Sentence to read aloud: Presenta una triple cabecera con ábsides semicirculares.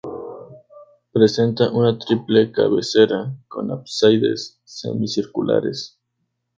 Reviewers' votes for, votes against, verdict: 0, 2, rejected